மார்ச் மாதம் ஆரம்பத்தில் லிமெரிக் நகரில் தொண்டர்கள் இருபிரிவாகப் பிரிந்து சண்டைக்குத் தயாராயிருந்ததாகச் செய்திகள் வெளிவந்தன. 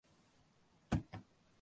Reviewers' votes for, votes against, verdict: 1, 2, rejected